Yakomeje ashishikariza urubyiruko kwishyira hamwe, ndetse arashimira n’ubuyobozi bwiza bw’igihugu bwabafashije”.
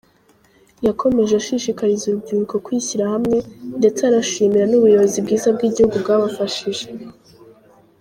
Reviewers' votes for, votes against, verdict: 2, 0, accepted